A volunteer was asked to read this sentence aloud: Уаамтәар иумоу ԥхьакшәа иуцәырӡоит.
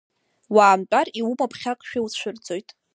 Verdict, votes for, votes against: rejected, 1, 2